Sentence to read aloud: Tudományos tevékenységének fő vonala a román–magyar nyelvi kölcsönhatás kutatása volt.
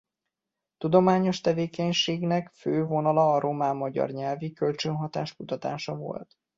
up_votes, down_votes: 0, 2